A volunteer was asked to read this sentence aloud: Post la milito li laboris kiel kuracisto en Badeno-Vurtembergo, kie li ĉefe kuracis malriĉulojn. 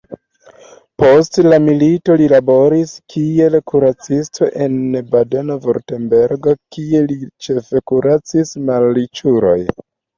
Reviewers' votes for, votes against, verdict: 2, 0, accepted